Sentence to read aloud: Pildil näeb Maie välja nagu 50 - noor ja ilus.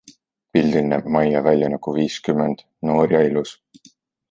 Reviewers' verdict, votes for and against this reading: rejected, 0, 2